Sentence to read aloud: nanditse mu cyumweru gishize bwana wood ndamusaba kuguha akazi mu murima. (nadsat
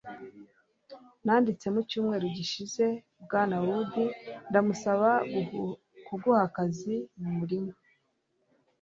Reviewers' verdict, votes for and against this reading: rejected, 1, 2